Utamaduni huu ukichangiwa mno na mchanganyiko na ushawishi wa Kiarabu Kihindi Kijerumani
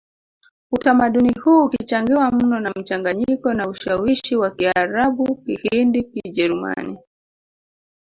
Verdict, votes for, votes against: rejected, 0, 3